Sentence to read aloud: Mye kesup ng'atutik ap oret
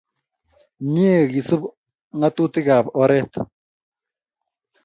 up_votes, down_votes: 2, 0